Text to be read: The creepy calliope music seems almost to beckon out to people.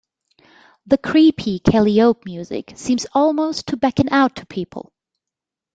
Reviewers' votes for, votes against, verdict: 2, 0, accepted